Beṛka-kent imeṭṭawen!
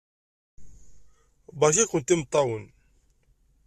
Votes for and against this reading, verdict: 2, 0, accepted